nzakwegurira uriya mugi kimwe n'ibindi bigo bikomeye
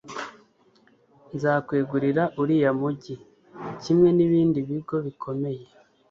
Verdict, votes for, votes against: accepted, 2, 0